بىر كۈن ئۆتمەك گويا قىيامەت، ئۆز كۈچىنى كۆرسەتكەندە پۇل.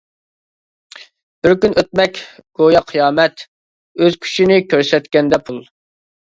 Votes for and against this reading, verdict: 2, 0, accepted